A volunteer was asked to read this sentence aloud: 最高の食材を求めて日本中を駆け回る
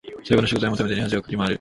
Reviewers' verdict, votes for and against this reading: rejected, 0, 2